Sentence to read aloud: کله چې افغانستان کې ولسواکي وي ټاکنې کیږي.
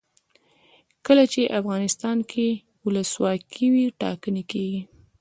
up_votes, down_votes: 1, 2